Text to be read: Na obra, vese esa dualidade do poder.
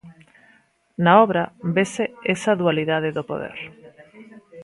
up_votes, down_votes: 1, 2